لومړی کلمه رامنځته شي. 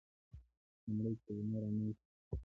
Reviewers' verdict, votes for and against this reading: rejected, 1, 2